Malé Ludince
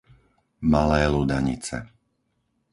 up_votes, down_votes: 0, 4